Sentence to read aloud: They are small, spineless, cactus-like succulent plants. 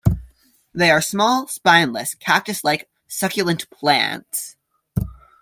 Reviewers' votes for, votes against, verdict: 2, 0, accepted